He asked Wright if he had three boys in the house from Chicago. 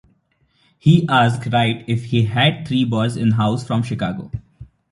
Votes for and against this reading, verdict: 0, 2, rejected